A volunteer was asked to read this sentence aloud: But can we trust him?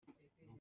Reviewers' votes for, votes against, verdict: 0, 2, rejected